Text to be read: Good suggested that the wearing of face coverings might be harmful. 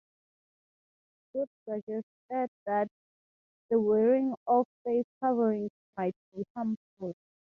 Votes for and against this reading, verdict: 2, 2, rejected